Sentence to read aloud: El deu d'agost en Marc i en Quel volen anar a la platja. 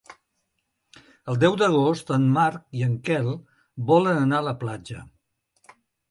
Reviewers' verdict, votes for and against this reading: accepted, 3, 0